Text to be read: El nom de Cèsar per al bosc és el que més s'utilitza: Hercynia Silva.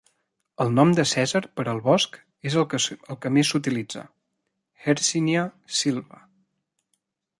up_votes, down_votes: 0, 2